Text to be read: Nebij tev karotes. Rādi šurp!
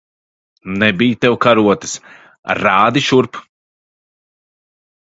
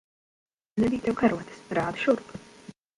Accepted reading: first